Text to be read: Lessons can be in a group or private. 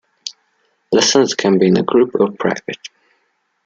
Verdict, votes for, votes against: accepted, 2, 0